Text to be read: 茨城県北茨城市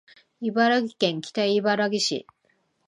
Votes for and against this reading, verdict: 0, 2, rejected